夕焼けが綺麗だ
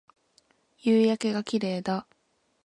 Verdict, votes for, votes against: accepted, 2, 0